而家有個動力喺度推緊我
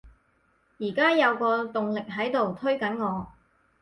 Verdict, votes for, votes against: accepted, 4, 0